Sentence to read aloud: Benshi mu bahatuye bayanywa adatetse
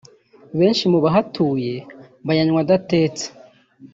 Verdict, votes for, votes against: accepted, 3, 0